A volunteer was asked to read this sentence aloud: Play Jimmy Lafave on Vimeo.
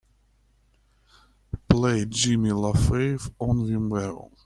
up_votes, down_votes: 2, 1